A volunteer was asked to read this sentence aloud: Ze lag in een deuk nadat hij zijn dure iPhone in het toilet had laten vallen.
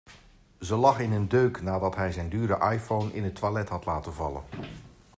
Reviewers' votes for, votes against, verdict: 2, 0, accepted